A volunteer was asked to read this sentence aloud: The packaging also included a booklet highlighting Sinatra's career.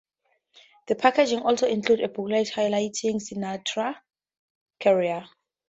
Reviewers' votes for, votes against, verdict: 0, 2, rejected